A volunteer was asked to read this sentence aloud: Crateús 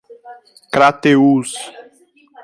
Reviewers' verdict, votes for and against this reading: accepted, 2, 0